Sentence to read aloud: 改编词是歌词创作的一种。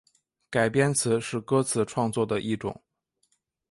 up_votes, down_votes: 2, 1